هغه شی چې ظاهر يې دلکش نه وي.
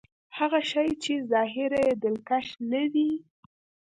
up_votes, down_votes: 2, 0